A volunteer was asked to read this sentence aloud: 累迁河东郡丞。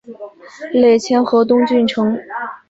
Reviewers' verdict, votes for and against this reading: accepted, 3, 0